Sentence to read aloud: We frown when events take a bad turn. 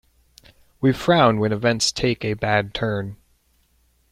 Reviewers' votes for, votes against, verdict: 2, 0, accepted